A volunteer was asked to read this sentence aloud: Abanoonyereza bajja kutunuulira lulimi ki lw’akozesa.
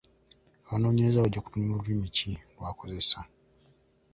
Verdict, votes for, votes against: rejected, 0, 2